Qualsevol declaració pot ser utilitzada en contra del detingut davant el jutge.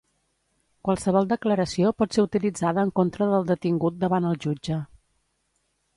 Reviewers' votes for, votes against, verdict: 2, 0, accepted